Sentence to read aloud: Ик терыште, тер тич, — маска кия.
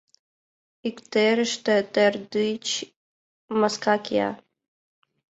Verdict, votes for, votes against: rejected, 1, 2